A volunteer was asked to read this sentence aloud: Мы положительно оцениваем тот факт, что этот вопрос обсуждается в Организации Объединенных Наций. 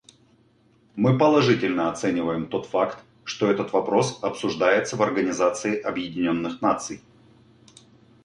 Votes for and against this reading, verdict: 2, 0, accepted